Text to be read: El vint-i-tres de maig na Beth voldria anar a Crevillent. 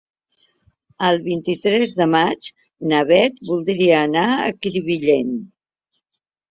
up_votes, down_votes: 1, 2